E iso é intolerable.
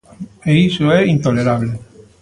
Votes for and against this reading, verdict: 1, 2, rejected